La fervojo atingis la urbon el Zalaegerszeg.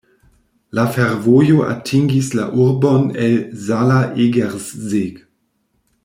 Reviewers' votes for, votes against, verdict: 1, 2, rejected